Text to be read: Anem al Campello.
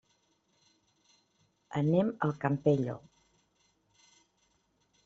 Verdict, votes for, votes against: accepted, 3, 0